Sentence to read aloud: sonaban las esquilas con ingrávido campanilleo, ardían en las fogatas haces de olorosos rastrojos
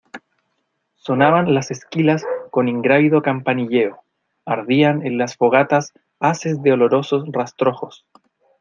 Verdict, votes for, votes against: accepted, 2, 0